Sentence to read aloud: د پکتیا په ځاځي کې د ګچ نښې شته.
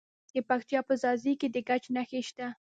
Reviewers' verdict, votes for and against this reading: rejected, 0, 2